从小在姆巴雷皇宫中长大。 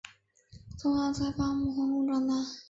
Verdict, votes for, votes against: rejected, 2, 3